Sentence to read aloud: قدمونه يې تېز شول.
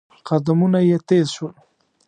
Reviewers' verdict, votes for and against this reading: accepted, 2, 0